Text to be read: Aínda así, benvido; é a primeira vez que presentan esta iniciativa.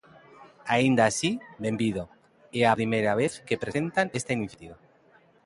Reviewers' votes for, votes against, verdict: 12, 14, rejected